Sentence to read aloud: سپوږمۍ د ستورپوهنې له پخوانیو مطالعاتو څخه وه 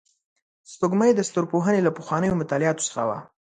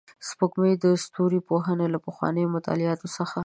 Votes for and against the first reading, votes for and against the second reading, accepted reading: 2, 0, 1, 2, first